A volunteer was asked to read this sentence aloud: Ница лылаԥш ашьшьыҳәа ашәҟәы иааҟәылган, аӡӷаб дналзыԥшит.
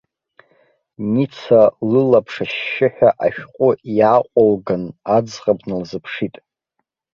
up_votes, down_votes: 2, 1